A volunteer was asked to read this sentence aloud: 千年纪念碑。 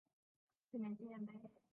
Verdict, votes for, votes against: rejected, 1, 4